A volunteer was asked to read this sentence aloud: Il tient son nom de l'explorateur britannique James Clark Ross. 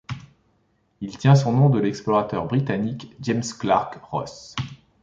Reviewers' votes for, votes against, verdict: 2, 0, accepted